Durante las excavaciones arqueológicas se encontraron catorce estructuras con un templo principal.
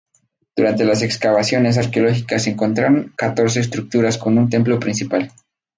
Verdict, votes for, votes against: rejected, 0, 2